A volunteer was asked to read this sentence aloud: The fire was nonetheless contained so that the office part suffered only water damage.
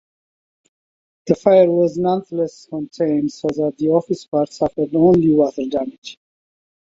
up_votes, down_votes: 2, 1